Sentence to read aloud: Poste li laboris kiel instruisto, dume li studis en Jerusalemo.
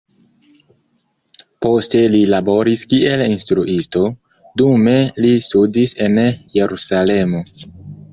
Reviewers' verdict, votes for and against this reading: accepted, 2, 0